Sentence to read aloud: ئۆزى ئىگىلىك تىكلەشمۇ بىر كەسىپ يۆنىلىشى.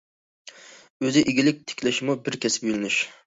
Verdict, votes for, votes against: rejected, 0, 2